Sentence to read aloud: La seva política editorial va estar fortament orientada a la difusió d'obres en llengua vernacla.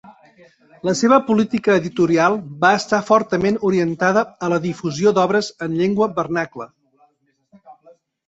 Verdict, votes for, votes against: accepted, 2, 1